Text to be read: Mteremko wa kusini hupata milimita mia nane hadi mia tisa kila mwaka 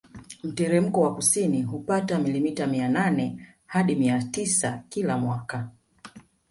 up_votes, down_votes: 2, 0